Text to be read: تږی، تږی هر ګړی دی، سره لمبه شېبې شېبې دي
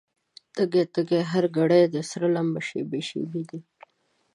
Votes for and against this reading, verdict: 2, 0, accepted